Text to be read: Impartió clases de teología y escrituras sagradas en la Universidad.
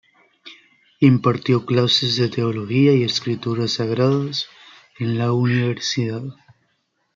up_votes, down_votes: 2, 0